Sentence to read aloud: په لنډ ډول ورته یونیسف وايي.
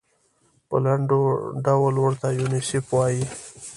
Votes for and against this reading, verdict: 0, 2, rejected